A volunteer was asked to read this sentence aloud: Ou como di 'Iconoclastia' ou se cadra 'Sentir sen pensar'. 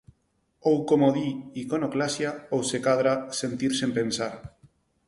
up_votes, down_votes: 0, 4